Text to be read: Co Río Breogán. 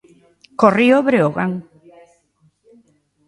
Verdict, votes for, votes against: accepted, 2, 0